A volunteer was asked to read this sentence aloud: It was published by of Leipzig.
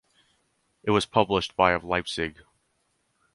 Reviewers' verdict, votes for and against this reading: accepted, 4, 0